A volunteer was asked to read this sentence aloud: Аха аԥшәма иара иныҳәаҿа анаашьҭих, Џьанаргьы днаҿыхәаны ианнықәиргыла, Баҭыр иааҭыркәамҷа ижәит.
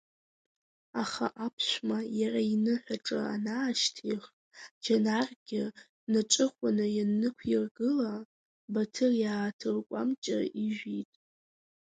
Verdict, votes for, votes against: accepted, 2, 1